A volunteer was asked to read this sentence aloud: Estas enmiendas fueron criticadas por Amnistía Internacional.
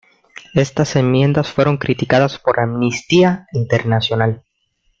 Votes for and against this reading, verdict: 2, 1, accepted